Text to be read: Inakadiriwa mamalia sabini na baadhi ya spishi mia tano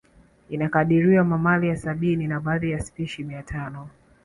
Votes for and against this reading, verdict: 2, 0, accepted